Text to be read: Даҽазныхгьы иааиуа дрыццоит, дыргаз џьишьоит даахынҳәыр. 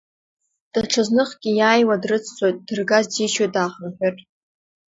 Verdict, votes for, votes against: rejected, 0, 2